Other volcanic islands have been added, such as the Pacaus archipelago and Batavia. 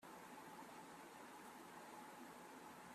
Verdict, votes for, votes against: rejected, 0, 2